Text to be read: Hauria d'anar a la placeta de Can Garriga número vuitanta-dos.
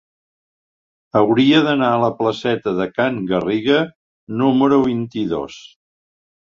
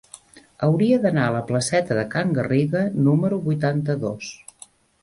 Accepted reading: second